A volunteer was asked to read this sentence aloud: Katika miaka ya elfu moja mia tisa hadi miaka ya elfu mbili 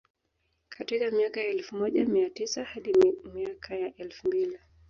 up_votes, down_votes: 2, 0